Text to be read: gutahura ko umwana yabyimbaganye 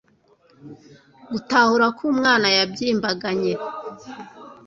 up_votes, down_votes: 2, 0